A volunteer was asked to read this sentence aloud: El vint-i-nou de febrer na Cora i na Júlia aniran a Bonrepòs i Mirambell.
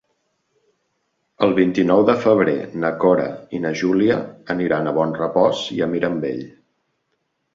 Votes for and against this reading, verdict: 1, 2, rejected